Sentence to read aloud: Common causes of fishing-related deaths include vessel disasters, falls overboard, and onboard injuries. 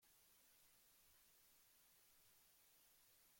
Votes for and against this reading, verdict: 0, 2, rejected